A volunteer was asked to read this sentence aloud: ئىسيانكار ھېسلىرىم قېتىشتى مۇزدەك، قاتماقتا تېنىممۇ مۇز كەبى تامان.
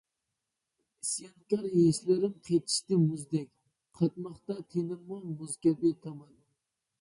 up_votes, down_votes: 0, 2